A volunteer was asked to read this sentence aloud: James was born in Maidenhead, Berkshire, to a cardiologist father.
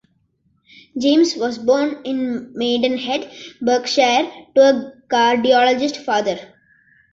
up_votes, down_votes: 2, 1